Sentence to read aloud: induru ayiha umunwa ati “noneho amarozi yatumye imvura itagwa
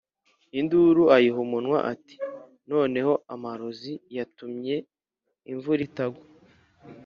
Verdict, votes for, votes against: accepted, 2, 0